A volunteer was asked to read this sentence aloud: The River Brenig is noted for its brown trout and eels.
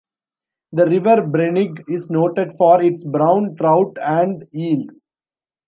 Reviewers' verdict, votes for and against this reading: accepted, 2, 0